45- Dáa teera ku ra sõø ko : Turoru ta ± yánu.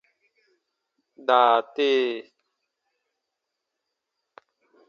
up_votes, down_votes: 0, 2